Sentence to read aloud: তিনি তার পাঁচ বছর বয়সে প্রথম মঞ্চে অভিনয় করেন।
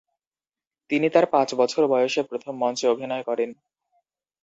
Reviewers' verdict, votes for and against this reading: accepted, 2, 0